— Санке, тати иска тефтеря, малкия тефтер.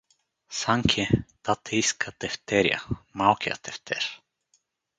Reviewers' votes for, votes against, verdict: 2, 2, rejected